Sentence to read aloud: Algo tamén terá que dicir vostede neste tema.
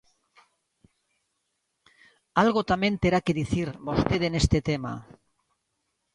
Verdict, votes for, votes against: accepted, 2, 0